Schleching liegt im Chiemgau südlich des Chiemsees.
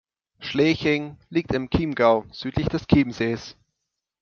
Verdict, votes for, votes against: accepted, 2, 0